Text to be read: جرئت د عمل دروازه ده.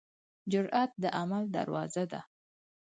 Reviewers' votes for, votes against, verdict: 4, 0, accepted